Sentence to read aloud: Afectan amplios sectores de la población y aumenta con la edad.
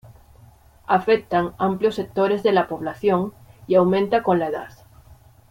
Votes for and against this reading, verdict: 3, 0, accepted